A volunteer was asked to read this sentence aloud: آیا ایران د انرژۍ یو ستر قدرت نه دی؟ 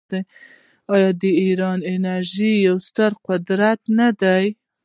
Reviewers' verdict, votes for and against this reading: rejected, 0, 2